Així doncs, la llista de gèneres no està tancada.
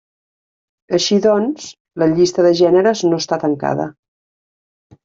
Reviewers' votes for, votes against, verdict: 3, 0, accepted